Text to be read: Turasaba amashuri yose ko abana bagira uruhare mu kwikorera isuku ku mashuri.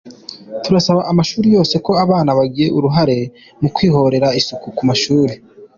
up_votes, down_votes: 2, 1